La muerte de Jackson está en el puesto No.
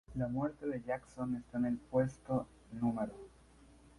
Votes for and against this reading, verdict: 4, 0, accepted